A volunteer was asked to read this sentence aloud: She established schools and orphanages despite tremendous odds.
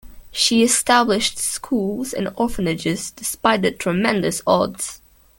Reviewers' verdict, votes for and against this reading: accepted, 3, 0